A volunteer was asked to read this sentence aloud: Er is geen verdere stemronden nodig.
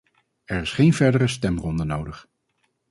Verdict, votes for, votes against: rejected, 2, 2